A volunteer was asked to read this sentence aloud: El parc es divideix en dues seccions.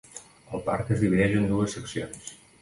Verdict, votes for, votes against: accepted, 2, 0